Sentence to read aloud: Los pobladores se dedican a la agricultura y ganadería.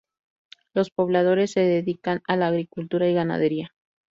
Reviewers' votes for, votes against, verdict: 2, 0, accepted